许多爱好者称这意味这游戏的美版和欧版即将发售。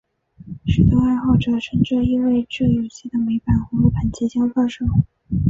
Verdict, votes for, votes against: rejected, 0, 2